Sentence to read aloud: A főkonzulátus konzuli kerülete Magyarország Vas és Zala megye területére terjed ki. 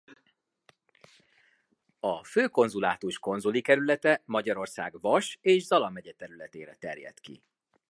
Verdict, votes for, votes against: accepted, 2, 0